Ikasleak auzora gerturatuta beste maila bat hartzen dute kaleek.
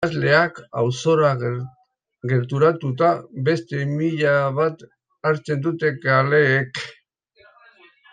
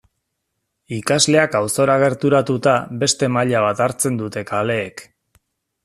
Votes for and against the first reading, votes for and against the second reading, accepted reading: 0, 2, 2, 0, second